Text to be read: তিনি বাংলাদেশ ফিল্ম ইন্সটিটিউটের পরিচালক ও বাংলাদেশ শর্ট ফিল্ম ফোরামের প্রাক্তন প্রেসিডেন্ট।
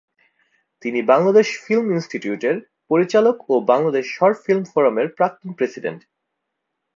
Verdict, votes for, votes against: accepted, 4, 0